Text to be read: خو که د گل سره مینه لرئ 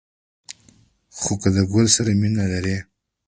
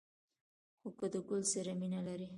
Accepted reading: first